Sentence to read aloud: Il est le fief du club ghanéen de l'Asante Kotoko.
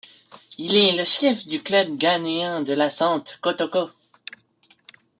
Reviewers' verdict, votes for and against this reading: rejected, 0, 2